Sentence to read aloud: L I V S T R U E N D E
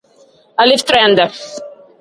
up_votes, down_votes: 0, 2